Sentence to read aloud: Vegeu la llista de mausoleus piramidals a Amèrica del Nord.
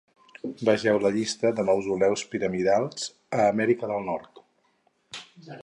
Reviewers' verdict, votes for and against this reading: accepted, 4, 0